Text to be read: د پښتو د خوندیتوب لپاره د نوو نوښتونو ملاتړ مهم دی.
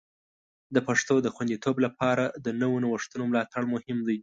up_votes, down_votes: 2, 0